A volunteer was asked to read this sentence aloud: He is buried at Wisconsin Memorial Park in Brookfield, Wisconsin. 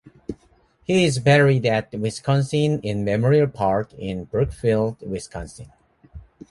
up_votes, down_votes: 0, 2